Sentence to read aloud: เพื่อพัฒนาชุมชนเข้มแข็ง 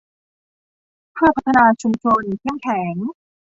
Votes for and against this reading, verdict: 2, 1, accepted